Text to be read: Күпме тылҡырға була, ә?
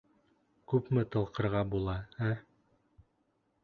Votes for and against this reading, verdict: 3, 0, accepted